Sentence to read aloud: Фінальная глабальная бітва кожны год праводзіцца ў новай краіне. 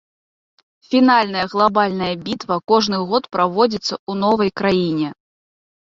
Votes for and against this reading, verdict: 0, 2, rejected